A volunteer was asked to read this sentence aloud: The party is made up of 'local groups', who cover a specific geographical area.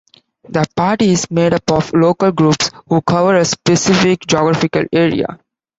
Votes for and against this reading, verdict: 2, 0, accepted